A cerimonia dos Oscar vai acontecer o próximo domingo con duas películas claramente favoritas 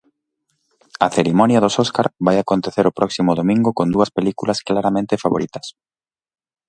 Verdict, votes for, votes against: accepted, 2, 0